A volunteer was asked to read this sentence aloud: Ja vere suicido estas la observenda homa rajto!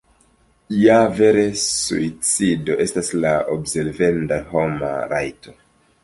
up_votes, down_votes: 0, 2